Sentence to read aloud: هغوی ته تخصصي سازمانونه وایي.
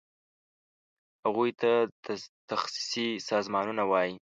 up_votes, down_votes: 1, 2